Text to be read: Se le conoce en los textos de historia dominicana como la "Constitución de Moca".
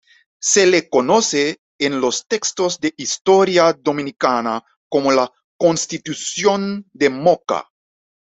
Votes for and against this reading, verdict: 2, 0, accepted